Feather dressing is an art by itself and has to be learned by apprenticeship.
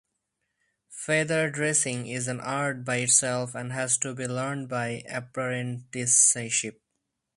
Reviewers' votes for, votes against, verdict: 2, 0, accepted